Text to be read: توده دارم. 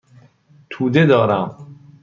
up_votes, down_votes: 2, 0